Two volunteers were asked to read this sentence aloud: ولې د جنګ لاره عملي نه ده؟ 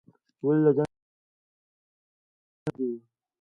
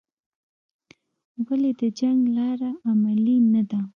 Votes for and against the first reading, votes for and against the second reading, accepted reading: 0, 2, 2, 0, second